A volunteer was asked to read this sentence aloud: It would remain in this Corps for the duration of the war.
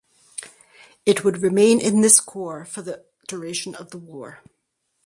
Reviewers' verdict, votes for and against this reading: accepted, 4, 0